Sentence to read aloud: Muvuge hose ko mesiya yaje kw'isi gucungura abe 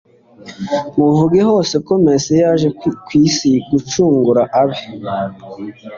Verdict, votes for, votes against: accepted, 3, 0